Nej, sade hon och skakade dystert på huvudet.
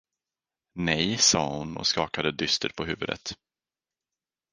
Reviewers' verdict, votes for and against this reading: accepted, 4, 0